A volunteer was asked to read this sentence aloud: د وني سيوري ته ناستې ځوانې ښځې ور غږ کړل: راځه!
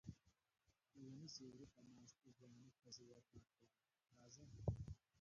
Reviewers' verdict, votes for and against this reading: rejected, 0, 2